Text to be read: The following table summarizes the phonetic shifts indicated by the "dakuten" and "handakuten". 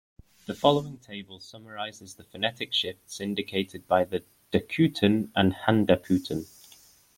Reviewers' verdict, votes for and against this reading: accepted, 2, 1